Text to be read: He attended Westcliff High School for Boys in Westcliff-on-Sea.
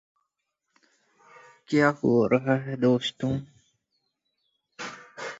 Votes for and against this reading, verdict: 0, 2, rejected